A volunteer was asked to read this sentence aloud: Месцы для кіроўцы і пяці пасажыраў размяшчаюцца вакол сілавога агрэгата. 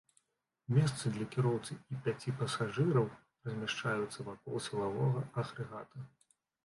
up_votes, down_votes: 0, 2